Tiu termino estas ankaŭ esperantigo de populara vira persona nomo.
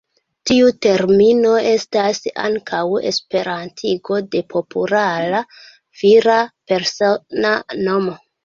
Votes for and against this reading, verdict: 2, 0, accepted